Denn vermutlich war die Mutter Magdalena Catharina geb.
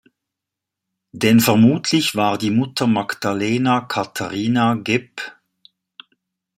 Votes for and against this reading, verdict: 2, 1, accepted